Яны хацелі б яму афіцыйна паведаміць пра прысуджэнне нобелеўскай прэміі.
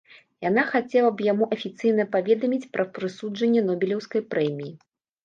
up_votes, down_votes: 1, 2